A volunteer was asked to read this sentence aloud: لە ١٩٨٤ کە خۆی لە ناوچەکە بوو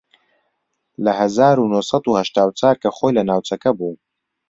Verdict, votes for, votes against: rejected, 0, 2